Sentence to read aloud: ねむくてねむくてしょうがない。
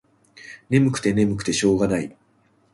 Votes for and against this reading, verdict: 2, 0, accepted